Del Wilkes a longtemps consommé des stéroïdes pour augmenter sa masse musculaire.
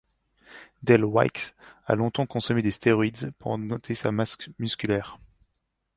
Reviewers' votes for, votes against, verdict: 0, 2, rejected